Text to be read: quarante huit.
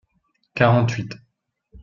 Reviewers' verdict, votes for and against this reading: accepted, 2, 0